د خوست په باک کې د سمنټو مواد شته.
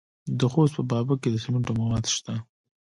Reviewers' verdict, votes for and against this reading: rejected, 1, 2